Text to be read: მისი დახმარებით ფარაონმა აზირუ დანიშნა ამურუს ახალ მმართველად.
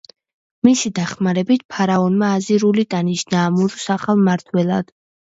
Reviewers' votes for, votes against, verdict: 0, 2, rejected